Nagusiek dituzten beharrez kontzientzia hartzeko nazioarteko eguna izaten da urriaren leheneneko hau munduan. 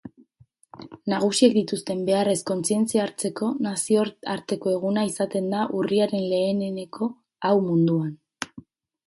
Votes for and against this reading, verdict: 4, 0, accepted